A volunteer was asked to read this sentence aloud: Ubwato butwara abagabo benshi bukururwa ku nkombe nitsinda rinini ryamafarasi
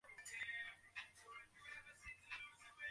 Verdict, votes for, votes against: rejected, 0, 2